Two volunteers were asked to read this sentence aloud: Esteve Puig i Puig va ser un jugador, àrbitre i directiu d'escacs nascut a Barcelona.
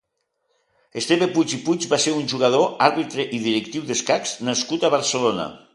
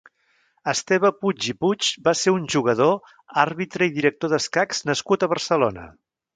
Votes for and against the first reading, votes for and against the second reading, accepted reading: 2, 1, 3, 4, first